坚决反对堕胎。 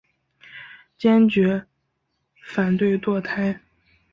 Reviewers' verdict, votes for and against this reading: accepted, 2, 1